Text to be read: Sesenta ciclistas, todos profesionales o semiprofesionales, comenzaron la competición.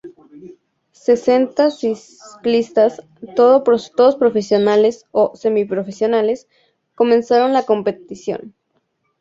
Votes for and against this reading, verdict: 0, 2, rejected